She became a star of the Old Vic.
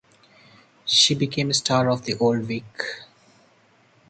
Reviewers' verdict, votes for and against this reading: accepted, 4, 2